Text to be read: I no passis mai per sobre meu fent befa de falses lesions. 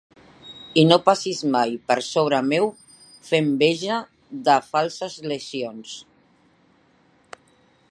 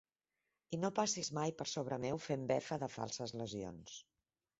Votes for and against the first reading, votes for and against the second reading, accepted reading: 0, 3, 4, 0, second